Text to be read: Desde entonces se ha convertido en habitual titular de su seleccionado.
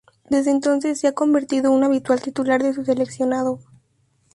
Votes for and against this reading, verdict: 0, 2, rejected